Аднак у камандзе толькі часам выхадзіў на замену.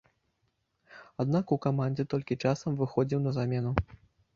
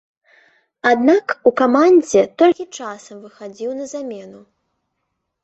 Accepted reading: second